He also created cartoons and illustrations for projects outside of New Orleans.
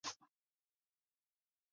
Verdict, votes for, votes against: rejected, 0, 3